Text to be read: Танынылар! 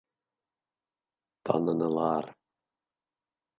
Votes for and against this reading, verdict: 3, 0, accepted